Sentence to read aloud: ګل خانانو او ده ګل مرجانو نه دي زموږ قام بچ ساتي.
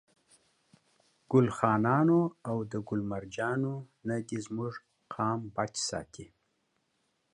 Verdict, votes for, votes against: accepted, 2, 1